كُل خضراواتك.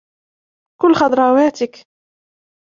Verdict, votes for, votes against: accepted, 2, 0